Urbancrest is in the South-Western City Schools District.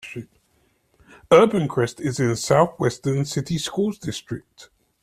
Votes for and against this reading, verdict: 2, 0, accepted